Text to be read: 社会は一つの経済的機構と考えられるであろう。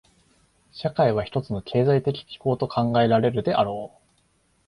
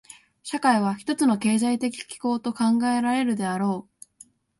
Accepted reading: first